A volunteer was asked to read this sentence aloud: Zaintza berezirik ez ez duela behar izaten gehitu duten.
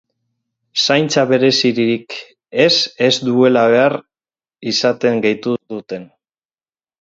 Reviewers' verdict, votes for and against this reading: rejected, 0, 4